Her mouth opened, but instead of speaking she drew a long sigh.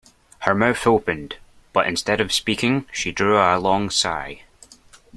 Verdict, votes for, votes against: accepted, 2, 0